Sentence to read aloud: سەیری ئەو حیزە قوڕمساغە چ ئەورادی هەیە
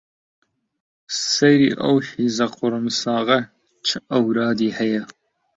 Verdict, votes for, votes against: accepted, 2, 0